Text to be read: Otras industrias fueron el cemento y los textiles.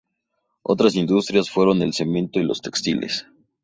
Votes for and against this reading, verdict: 4, 0, accepted